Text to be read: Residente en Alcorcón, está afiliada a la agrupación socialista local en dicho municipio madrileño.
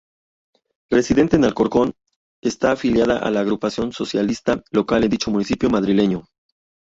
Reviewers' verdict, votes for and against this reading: rejected, 0, 2